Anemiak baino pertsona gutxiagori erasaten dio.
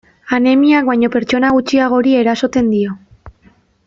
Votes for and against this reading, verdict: 0, 2, rejected